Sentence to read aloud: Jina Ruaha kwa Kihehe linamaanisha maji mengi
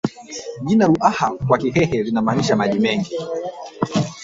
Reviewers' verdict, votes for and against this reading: rejected, 1, 2